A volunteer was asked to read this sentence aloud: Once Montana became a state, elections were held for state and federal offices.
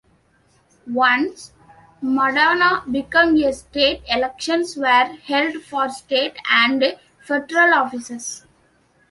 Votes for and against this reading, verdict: 0, 2, rejected